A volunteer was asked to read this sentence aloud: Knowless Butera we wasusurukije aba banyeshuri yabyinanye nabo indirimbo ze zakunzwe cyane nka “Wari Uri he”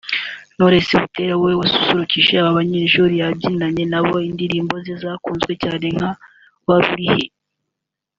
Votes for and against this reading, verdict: 0, 2, rejected